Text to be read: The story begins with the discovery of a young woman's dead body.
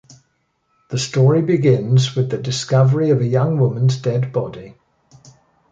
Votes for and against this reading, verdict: 2, 0, accepted